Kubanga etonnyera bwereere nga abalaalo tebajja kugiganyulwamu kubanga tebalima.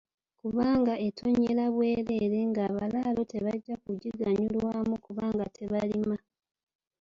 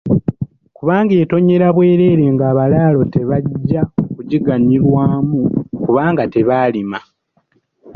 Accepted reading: first